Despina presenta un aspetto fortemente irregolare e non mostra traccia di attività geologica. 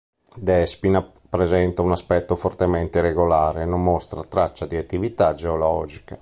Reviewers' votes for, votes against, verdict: 2, 0, accepted